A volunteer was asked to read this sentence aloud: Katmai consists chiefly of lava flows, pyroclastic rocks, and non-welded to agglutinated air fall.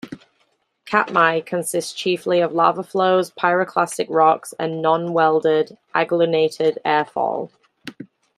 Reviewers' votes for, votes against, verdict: 1, 2, rejected